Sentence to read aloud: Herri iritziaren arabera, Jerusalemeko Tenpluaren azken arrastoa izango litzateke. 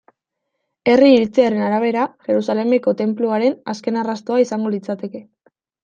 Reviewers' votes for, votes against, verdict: 2, 0, accepted